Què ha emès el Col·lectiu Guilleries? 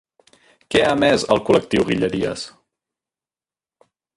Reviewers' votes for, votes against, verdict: 0, 2, rejected